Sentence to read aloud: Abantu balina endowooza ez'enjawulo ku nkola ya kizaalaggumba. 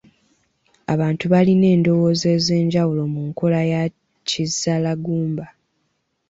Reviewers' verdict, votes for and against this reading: rejected, 0, 2